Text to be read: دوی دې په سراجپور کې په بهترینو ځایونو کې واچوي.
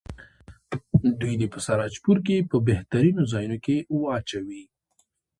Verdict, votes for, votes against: accepted, 2, 0